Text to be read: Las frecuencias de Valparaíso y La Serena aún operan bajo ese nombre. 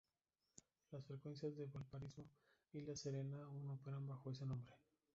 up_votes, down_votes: 0, 2